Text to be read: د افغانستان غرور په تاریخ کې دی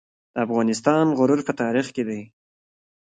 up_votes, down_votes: 3, 0